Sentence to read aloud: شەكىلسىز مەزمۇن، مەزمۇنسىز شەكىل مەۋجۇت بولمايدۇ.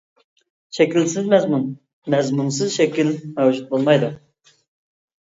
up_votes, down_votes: 2, 0